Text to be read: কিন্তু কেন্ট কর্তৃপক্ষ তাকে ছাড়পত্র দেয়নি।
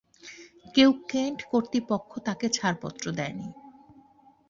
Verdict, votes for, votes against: rejected, 1, 2